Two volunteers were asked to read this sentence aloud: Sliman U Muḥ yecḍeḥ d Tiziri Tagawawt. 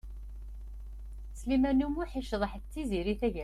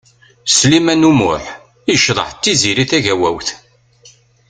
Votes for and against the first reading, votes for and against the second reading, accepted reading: 0, 2, 2, 0, second